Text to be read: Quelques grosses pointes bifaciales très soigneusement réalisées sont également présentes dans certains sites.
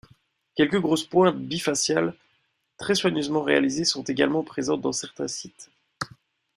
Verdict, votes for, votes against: accepted, 2, 0